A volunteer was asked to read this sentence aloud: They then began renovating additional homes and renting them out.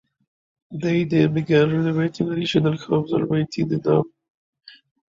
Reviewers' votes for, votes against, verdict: 2, 1, accepted